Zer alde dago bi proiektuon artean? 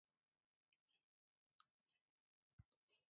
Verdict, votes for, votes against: rejected, 0, 2